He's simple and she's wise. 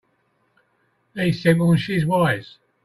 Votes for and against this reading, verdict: 2, 1, accepted